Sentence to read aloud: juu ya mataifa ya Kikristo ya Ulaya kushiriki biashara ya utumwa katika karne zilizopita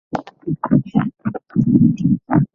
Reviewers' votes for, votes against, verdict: 0, 2, rejected